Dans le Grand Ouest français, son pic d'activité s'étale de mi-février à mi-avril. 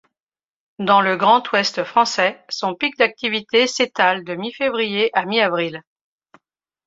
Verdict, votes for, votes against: accepted, 2, 0